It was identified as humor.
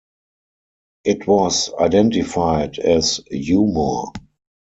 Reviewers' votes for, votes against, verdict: 2, 4, rejected